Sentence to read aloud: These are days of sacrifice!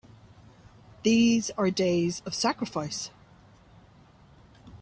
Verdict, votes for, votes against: accepted, 4, 0